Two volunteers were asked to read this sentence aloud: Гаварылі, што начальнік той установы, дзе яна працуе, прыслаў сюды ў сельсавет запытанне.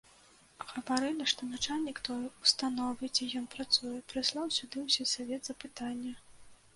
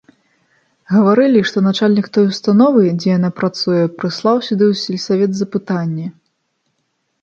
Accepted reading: second